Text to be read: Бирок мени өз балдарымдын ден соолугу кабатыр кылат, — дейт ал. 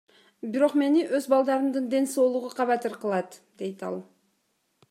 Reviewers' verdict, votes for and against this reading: accepted, 2, 0